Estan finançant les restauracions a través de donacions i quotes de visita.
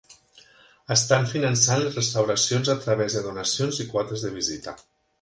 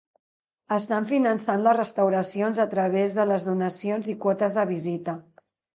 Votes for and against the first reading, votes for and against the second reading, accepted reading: 3, 0, 0, 2, first